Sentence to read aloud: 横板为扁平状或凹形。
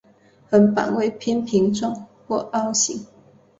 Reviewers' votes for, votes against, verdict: 2, 0, accepted